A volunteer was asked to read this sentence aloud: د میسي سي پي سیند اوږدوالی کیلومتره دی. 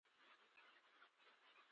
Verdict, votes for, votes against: rejected, 0, 2